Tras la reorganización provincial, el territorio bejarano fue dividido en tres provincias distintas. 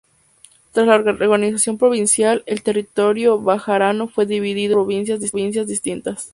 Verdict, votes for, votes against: accepted, 2, 0